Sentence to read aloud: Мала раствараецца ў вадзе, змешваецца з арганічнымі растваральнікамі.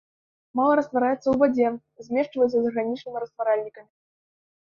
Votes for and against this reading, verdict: 1, 2, rejected